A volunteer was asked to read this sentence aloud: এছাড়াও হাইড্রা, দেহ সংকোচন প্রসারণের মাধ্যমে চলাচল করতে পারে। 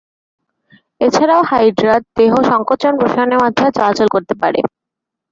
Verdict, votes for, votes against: rejected, 1, 2